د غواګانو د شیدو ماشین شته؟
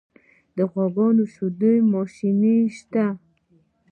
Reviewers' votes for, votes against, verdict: 3, 1, accepted